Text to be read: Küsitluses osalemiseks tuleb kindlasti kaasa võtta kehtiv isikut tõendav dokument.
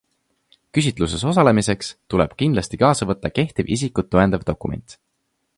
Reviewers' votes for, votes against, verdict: 3, 0, accepted